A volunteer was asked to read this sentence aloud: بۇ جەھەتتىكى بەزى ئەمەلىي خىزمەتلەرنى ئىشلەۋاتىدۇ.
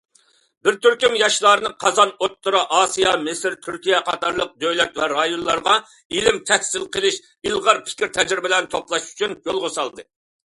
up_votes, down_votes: 0, 2